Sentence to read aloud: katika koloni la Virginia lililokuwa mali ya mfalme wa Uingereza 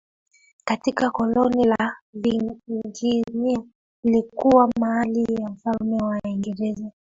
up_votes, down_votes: 0, 2